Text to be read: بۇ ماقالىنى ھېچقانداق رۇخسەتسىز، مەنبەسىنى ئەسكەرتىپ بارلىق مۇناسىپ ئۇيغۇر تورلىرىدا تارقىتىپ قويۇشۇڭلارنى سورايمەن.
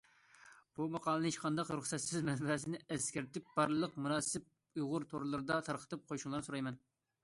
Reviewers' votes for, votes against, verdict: 2, 0, accepted